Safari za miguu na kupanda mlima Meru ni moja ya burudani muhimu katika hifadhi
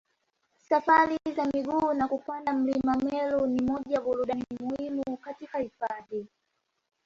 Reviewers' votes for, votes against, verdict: 2, 0, accepted